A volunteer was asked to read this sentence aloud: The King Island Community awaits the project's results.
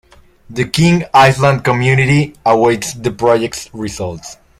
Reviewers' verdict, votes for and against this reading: accepted, 2, 0